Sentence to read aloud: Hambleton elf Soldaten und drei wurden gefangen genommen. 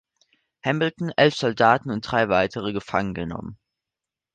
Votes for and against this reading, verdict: 1, 2, rejected